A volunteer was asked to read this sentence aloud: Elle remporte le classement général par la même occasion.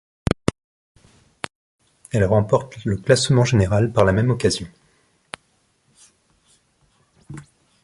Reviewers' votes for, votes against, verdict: 1, 2, rejected